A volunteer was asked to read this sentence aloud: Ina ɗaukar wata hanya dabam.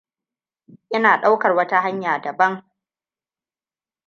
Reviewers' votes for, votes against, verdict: 2, 0, accepted